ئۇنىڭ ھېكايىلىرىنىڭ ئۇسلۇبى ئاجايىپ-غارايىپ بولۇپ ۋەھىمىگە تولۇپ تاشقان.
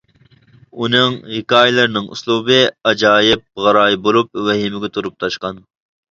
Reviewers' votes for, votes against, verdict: 0, 2, rejected